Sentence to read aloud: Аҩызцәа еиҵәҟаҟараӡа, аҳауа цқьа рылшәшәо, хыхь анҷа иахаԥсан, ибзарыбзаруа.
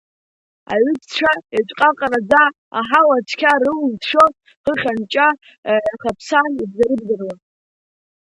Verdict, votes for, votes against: accepted, 2, 1